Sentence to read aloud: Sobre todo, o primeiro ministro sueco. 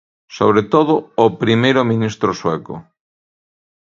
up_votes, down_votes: 2, 0